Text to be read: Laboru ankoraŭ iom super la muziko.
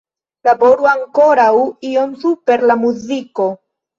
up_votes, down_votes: 1, 2